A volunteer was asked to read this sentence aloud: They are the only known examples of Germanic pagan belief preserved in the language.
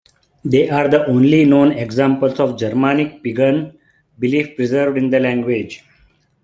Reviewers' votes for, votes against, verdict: 3, 1, accepted